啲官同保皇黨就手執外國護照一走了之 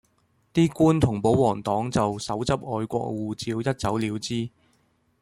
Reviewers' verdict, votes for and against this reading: accepted, 2, 0